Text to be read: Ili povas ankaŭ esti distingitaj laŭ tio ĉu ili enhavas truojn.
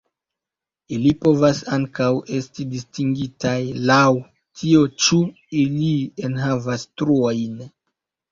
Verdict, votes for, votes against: rejected, 0, 2